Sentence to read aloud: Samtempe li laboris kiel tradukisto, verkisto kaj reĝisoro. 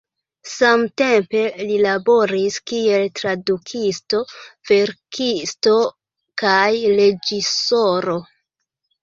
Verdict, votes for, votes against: rejected, 0, 2